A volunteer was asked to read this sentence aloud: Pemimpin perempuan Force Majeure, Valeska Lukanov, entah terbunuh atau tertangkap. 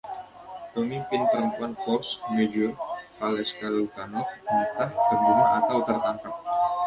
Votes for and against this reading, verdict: 2, 0, accepted